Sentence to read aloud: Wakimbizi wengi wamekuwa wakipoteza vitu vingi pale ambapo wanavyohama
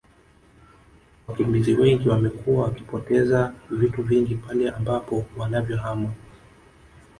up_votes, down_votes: 1, 2